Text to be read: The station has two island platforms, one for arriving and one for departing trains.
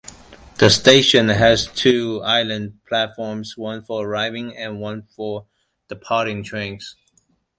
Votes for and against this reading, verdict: 2, 0, accepted